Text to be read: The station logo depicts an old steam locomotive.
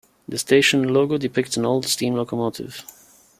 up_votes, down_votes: 2, 0